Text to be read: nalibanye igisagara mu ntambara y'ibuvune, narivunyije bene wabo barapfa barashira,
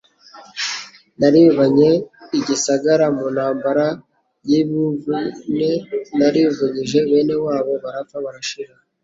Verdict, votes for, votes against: accepted, 2, 0